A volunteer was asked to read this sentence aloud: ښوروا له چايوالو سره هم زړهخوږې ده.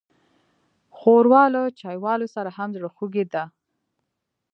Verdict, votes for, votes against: accepted, 2, 1